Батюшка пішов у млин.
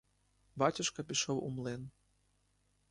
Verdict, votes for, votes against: accepted, 2, 0